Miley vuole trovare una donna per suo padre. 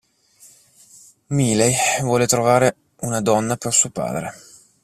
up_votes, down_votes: 1, 2